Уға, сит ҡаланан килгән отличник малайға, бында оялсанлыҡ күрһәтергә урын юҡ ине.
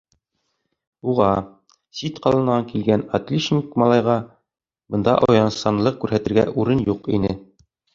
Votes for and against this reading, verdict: 2, 1, accepted